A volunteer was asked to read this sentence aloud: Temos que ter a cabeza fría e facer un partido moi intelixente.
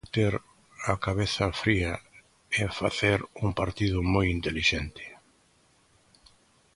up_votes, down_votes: 1, 3